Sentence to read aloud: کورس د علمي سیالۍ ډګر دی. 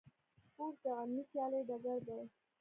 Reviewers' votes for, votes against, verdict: 0, 2, rejected